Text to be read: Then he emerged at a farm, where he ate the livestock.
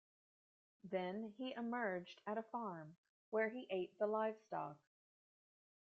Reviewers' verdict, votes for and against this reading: accepted, 2, 0